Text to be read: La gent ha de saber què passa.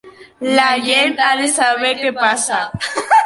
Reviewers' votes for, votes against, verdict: 0, 2, rejected